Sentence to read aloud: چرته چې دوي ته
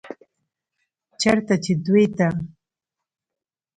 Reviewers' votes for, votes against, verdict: 2, 0, accepted